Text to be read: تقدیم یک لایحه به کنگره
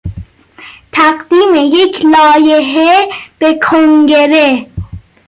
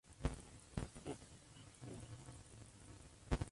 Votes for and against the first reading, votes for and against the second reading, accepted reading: 2, 0, 0, 2, first